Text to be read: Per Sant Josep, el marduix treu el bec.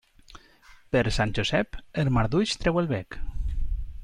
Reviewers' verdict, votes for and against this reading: accepted, 3, 0